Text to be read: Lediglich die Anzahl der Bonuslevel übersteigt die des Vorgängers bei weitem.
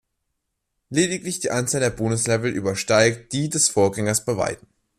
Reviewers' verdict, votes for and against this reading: accepted, 2, 0